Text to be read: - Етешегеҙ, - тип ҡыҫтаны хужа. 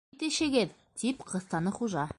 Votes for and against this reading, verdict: 1, 2, rejected